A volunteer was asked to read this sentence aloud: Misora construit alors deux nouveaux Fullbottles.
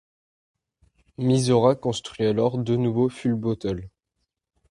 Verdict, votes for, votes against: rejected, 1, 2